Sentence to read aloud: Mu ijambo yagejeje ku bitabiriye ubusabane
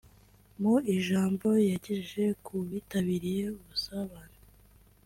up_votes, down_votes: 2, 0